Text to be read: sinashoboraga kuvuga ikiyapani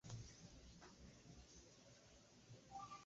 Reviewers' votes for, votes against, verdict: 0, 3, rejected